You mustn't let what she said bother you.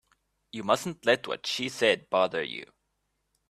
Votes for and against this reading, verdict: 3, 0, accepted